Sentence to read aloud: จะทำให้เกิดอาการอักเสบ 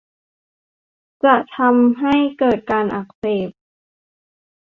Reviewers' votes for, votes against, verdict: 0, 2, rejected